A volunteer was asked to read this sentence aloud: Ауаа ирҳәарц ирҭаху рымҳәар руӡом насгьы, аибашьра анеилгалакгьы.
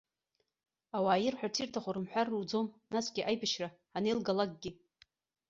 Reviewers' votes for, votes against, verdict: 2, 0, accepted